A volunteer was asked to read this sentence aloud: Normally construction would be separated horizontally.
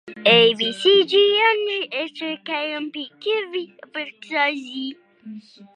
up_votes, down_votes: 0, 2